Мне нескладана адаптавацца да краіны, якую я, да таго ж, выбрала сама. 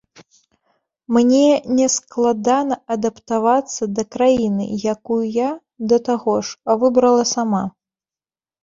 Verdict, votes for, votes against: accepted, 2, 0